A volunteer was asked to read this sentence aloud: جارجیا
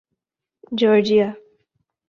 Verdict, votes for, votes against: accepted, 2, 0